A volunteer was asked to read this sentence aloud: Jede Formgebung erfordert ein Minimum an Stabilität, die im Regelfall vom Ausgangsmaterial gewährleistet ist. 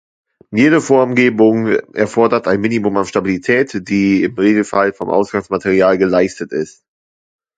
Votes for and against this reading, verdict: 1, 2, rejected